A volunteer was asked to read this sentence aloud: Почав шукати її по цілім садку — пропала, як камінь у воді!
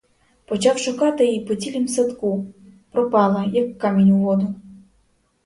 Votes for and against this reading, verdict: 2, 4, rejected